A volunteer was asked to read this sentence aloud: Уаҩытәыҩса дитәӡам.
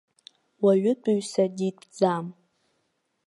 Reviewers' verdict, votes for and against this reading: accepted, 2, 0